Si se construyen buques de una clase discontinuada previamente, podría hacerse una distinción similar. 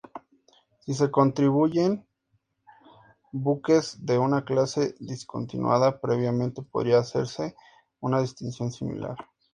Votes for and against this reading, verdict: 0, 2, rejected